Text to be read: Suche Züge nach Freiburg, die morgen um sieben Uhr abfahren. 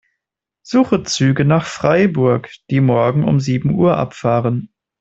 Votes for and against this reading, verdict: 2, 0, accepted